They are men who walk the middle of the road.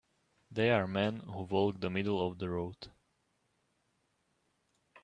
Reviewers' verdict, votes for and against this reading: accepted, 2, 0